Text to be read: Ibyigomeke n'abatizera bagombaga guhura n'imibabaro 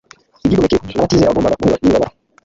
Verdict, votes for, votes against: rejected, 1, 2